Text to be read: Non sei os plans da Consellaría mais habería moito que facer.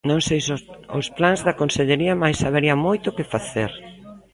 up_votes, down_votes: 0, 2